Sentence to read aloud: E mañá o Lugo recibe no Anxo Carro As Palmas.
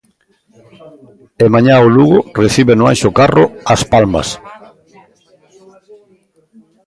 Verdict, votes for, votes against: accepted, 2, 1